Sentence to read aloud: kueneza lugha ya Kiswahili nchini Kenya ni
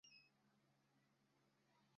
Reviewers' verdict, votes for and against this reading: rejected, 0, 2